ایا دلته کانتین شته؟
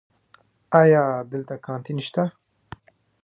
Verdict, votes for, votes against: accepted, 2, 1